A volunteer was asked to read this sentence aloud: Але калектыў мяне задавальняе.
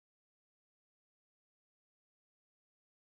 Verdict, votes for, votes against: rejected, 0, 2